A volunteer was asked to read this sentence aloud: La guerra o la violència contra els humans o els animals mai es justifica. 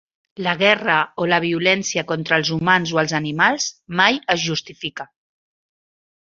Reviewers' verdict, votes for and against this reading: accepted, 3, 0